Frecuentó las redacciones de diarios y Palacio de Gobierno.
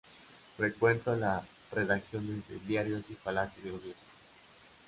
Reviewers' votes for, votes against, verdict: 0, 2, rejected